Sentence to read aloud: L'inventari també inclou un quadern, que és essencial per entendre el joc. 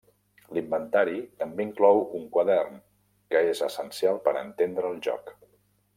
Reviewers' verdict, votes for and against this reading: rejected, 1, 2